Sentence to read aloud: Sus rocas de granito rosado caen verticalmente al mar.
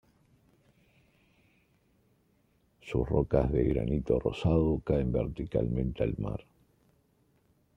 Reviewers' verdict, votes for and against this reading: rejected, 0, 2